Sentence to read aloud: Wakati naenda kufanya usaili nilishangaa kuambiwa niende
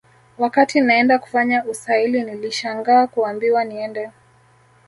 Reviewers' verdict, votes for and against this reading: accepted, 2, 0